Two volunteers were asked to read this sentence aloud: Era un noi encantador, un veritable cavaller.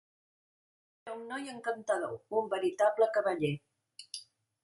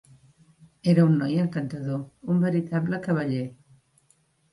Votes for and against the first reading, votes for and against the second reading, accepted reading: 0, 2, 3, 0, second